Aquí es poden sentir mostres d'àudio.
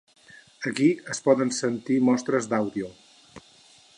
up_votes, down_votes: 8, 2